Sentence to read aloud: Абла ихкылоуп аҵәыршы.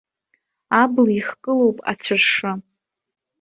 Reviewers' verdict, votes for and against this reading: accepted, 2, 1